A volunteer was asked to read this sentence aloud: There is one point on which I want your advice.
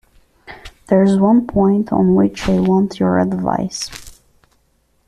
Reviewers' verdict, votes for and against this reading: accepted, 2, 1